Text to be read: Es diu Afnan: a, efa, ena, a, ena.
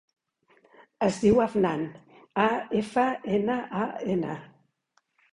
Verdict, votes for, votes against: accepted, 3, 0